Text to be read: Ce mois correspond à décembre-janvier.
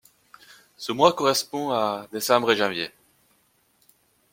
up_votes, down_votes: 2, 0